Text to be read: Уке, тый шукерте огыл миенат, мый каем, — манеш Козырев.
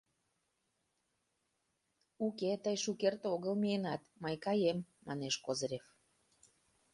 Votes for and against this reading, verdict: 2, 0, accepted